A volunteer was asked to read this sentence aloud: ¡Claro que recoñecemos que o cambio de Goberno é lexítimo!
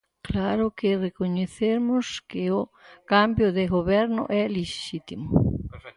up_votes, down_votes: 0, 4